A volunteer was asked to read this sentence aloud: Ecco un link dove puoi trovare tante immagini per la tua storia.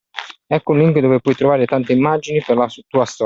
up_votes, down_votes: 0, 2